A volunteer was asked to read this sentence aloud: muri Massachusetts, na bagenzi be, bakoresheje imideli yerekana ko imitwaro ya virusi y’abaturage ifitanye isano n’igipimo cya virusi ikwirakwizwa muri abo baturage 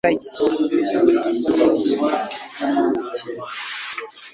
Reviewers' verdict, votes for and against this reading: rejected, 1, 3